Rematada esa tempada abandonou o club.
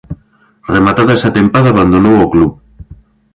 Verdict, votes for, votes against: accepted, 2, 0